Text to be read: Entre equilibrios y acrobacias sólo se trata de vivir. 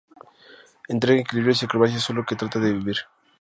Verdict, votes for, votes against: rejected, 0, 2